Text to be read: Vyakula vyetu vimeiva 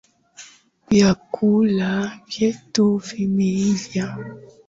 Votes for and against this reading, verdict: 4, 3, accepted